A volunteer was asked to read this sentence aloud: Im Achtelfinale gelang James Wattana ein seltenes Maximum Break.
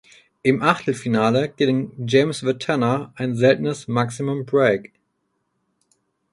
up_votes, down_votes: 0, 4